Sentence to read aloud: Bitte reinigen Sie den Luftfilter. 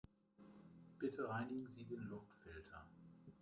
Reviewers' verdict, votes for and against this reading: rejected, 0, 2